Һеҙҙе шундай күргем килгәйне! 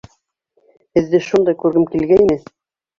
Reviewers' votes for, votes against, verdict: 0, 2, rejected